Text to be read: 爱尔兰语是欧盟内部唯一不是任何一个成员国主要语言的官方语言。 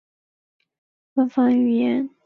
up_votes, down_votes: 0, 2